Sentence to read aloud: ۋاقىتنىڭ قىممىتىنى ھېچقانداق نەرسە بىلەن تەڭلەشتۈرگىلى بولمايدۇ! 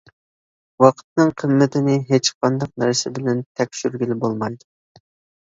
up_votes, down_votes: 0, 2